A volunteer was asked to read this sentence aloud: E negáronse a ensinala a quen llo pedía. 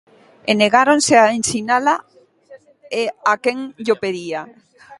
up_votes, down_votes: 0, 2